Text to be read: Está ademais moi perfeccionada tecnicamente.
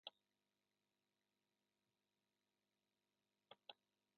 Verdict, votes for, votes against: rejected, 0, 2